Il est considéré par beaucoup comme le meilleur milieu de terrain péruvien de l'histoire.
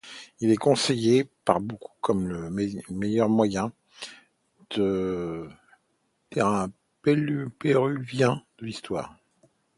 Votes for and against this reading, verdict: 0, 2, rejected